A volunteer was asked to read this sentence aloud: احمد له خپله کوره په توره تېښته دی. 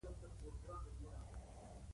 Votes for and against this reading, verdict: 2, 1, accepted